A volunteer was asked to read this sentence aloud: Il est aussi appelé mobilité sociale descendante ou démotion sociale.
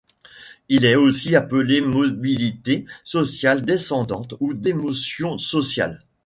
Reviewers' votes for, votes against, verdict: 1, 2, rejected